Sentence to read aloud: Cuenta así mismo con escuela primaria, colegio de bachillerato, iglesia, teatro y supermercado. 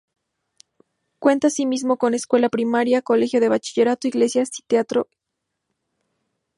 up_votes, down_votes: 0, 2